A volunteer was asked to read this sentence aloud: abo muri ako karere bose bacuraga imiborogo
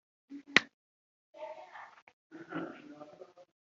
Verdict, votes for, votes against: rejected, 1, 3